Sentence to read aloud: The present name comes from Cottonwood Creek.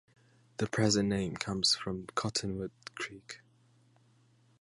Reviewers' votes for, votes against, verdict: 2, 0, accepted